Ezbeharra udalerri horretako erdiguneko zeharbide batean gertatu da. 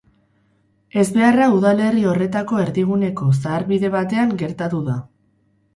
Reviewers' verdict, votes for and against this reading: rejected, 0, 2